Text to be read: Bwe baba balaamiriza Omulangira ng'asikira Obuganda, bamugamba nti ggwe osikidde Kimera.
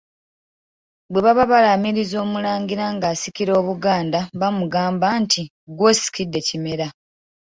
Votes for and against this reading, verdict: 2, 1, accepted